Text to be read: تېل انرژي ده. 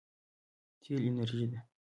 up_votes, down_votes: 2, 0